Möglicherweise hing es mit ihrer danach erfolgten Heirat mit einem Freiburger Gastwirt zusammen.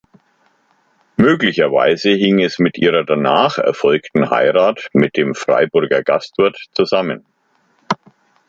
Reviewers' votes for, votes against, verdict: 1, 2, rejected